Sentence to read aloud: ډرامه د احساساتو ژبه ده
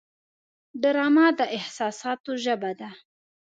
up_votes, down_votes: 2, 0